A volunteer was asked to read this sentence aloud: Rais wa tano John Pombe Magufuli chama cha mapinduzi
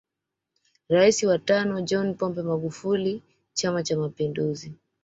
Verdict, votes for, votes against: accepted, 2, 0